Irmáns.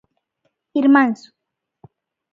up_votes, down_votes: 2, 0